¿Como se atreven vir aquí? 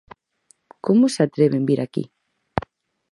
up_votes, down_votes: 4, 0